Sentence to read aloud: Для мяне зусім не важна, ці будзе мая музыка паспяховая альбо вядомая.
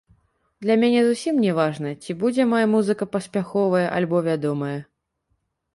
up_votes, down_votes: 1, 2